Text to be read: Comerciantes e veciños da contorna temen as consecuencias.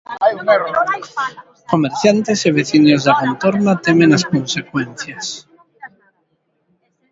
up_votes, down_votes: 0, 2